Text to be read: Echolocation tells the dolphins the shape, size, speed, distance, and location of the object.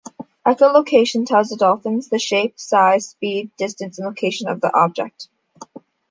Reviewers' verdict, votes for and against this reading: accepted, 2, 0